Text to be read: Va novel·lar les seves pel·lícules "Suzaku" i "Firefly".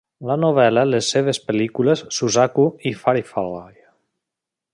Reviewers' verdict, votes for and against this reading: rejected, 0, 2